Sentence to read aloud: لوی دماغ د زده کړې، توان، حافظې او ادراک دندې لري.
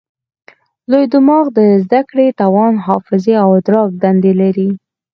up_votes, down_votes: 4, 0